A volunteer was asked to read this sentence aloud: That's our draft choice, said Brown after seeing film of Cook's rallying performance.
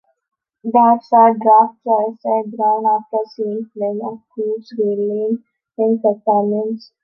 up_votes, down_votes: 0, 2